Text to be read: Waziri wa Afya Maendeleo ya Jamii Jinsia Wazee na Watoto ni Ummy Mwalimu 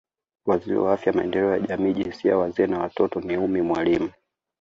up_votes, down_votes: 2, 0